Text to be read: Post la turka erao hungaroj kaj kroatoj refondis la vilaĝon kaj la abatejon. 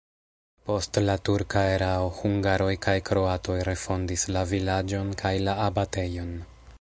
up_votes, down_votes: 2, 1